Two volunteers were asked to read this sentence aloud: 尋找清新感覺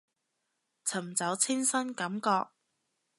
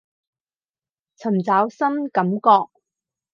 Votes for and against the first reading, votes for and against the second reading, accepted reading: 2, 0, 2, 2, first